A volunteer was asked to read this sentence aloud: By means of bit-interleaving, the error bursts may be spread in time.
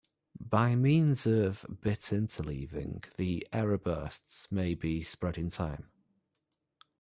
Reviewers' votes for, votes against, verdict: 2, 0, accepted